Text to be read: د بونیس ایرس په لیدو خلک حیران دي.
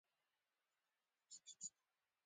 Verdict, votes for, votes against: rejected, 1, 2